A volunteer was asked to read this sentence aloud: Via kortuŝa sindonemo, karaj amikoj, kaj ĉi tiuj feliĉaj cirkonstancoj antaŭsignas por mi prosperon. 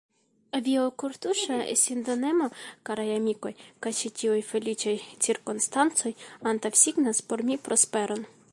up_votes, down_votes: 1, 2